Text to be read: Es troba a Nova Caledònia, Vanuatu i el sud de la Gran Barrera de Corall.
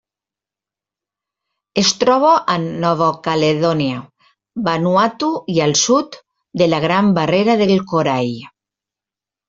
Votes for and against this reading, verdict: 0, 2, rejected